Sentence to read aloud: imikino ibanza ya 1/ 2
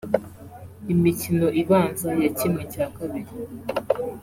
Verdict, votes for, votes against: rejected, 0, 2